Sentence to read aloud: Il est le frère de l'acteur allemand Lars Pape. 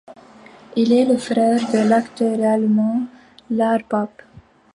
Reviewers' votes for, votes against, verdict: 2, 1, accepted